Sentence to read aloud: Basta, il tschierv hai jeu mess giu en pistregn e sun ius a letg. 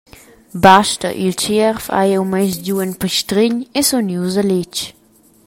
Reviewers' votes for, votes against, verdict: 2, 0, accepted